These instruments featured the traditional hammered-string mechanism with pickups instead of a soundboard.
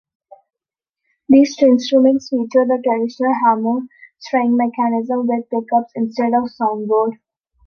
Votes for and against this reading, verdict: 0, 2, rejected